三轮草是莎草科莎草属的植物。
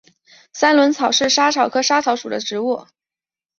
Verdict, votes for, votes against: accepted, 2, 1